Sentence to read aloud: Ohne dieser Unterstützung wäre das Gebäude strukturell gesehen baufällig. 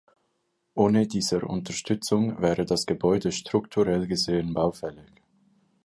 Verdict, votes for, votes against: accepted, 2, 0